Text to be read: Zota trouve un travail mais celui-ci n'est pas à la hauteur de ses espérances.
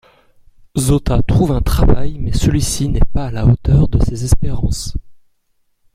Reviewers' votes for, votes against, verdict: 0, 2, rejected